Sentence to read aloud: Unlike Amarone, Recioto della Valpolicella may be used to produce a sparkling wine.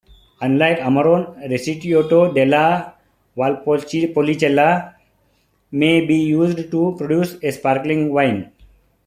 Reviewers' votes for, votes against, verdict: 1, 2, rejected